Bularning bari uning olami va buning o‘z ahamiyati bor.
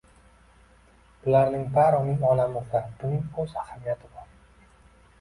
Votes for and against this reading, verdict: 1, 2, rejected